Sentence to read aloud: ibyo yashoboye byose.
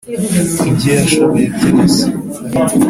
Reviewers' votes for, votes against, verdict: 2, 0, accepted